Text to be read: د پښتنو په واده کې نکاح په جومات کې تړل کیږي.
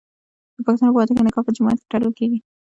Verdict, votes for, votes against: accepted, 2, 0